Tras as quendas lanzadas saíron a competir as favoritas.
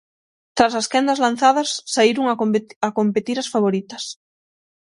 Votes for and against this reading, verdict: 0, 6, rejected